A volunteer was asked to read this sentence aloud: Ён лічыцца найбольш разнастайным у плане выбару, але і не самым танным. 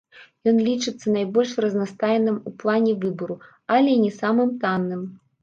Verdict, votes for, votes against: rejected, 1, 2